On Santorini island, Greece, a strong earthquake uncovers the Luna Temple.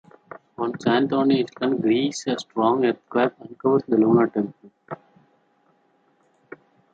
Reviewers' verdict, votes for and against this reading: rejected, 0, 2